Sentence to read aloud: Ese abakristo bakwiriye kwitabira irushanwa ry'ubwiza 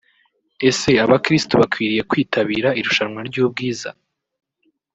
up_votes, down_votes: 2, 0